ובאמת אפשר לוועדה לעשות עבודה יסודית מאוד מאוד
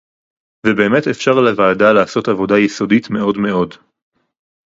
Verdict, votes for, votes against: rejected, 0, 2